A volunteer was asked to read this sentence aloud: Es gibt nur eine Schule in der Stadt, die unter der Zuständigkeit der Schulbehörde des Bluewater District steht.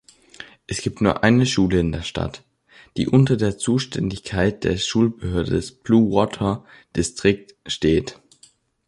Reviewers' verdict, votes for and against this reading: accepted, 2, 1